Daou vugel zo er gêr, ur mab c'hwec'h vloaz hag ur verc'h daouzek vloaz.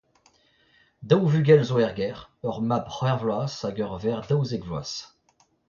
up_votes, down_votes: 0, 2